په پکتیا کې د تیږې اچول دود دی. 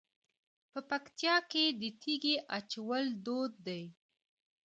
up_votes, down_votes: 1, 2